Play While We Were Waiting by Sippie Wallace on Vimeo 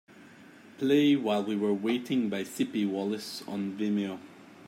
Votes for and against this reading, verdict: 2, 0, accepted